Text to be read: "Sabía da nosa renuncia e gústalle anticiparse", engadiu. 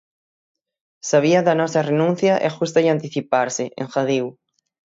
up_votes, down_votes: 6, 0